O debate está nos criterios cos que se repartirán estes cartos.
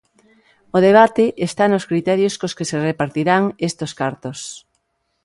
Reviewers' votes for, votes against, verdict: 0, 2, rejected